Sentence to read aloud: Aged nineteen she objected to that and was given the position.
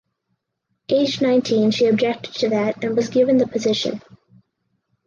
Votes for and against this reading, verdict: 4, 0, accepted